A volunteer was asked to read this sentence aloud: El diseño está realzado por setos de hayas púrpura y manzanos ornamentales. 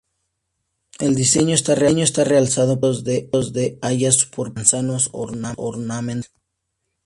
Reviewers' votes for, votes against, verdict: 0, 2, rejected